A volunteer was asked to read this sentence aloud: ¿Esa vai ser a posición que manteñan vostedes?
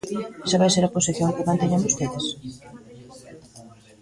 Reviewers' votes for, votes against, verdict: 1, 2, rejected